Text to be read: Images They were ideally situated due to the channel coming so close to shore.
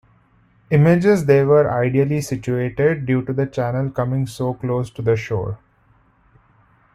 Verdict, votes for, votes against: rejected, 1, 2